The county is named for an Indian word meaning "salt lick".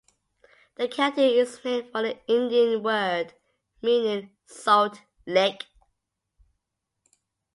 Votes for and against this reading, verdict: 2, 0, accepted